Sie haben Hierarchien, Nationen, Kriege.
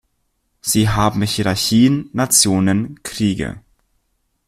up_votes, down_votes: 1, 2